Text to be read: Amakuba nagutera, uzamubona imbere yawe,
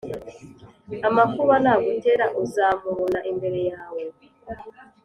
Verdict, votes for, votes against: accepted, 2, 1